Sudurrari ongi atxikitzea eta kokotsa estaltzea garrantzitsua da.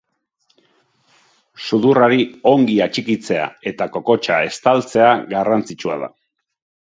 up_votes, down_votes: 2, 0